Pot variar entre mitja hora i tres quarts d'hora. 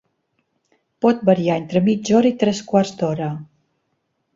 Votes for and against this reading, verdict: 2, 0, accepted